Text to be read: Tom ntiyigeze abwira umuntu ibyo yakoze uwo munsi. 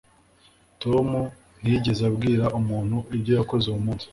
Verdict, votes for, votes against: accepted, 3, 0